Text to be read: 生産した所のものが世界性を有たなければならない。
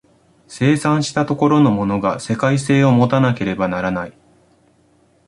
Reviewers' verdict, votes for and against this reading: accepted, 2, 0